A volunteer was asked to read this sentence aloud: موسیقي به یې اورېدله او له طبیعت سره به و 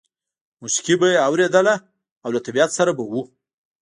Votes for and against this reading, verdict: 1, 2, rejected